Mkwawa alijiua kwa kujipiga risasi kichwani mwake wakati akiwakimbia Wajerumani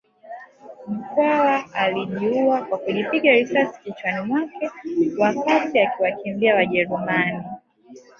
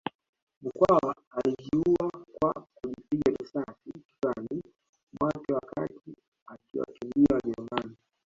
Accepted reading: first